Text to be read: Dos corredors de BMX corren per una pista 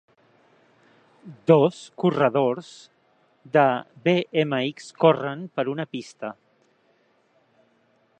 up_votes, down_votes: 3, 0